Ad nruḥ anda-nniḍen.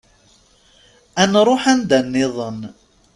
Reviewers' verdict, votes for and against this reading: accepted, 2, 0